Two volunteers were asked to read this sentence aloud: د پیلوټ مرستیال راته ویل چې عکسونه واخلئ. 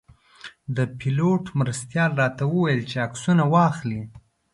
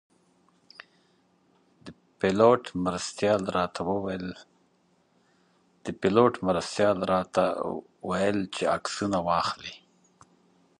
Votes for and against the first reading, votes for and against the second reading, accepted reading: 2, 0, 0, 2, first